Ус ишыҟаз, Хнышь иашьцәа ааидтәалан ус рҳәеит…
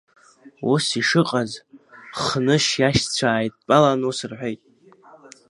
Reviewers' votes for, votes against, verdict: 2, 1, accepted